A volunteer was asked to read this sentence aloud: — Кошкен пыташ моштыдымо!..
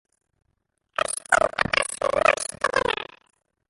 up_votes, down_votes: 0, 2